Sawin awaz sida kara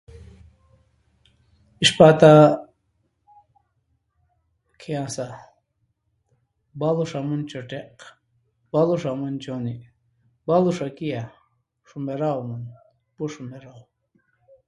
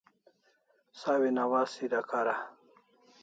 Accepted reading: second